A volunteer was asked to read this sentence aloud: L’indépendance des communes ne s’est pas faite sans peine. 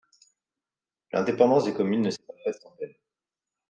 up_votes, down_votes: 2, 0